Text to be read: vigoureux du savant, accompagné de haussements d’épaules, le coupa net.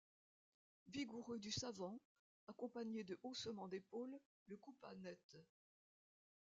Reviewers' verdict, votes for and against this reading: rejected, 0, 2